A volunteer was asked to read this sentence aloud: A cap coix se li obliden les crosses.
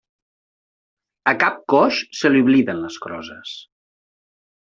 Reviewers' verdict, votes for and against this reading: rejected, 0, 2